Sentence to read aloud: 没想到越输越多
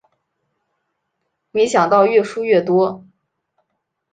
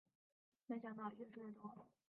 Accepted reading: first